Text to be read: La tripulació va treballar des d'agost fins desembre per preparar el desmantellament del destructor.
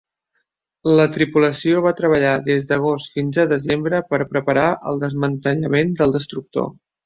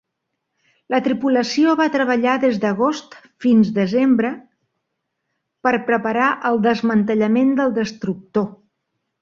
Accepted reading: second